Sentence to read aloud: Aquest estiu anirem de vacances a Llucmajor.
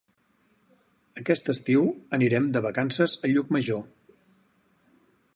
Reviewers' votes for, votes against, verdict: 4, 0, accepted